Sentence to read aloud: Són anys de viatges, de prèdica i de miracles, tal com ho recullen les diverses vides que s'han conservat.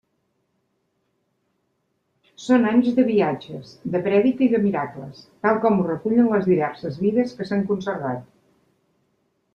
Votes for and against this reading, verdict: 2, 0, accepted